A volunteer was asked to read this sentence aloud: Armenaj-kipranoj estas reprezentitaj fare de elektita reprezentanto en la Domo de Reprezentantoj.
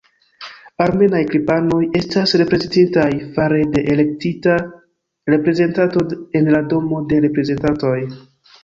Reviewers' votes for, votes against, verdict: 0, 2, rejected